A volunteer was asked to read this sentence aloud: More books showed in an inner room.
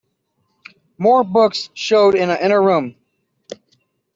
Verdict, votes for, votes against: accepted, 2, 0